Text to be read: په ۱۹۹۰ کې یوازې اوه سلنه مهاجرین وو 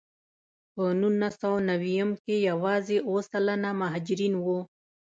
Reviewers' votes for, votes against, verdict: 0, 2, rejected